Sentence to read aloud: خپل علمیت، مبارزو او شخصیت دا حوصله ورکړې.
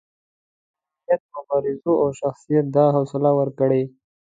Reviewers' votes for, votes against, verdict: 2, 0, accepted